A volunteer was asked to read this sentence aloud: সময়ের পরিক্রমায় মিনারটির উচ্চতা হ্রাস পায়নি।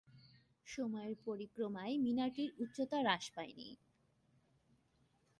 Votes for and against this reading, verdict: 2, 0, accepted